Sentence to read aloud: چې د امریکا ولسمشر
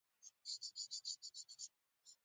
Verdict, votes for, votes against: rejected, 0, 2